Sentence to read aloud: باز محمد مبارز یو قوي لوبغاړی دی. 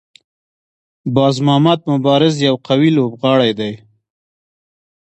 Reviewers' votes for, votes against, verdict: 1, 2, rejected